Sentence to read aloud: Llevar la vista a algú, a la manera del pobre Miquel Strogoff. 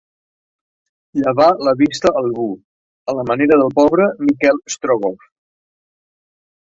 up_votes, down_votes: 0, 2